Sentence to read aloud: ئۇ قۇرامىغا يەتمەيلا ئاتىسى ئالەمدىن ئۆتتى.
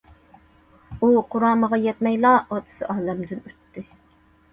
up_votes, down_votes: 2, 0